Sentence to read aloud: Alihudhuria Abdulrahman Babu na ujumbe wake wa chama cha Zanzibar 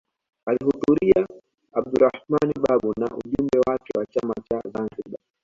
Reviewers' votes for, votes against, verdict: 2, 0, accepted